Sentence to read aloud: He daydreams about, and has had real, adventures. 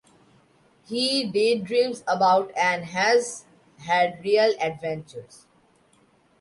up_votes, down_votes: 2, 1